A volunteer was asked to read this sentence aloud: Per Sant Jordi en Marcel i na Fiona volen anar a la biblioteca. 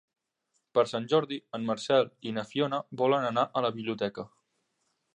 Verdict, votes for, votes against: accepted, 3, 0